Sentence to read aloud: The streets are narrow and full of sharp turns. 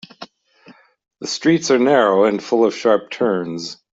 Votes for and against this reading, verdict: 2, 0, accepted